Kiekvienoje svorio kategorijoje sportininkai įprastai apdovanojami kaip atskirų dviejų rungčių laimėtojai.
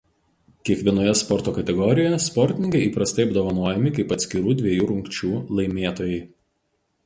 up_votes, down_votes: 0, 2